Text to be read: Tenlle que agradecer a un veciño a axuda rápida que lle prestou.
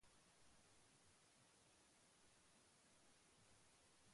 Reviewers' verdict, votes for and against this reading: rejected, 0, 2